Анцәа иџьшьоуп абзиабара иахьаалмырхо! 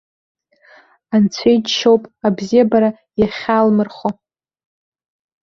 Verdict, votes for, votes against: rejected, 1, 2